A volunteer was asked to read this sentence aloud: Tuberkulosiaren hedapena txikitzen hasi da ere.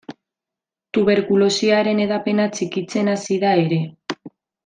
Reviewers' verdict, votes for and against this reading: accepted, 2, 0